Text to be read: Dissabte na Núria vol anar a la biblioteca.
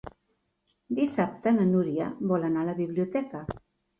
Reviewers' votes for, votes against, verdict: 3, 0, accepted